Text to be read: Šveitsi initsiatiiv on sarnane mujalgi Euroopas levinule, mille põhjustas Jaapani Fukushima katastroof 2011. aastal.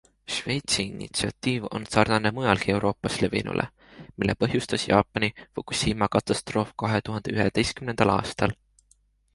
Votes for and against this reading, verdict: 0, 2, rejected